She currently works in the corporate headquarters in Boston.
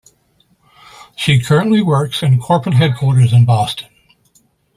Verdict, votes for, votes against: accepted, 2, 0